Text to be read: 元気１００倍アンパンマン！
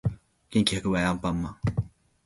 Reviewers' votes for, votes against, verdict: 0, 2, rejected